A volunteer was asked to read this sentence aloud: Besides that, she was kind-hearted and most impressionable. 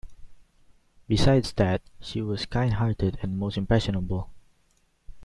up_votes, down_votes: 2, 0